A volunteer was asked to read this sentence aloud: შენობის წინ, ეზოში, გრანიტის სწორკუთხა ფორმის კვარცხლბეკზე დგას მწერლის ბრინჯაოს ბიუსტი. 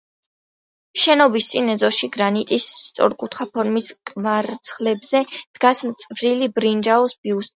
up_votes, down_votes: 1, 2